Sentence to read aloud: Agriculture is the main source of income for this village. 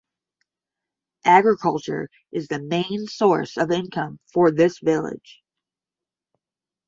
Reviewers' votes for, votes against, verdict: 10, 0, accepted